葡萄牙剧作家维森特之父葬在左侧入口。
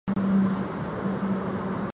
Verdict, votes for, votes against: rejected, 0, 2